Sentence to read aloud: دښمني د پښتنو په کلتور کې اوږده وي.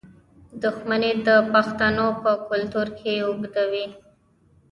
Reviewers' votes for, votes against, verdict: 2, 0, accepted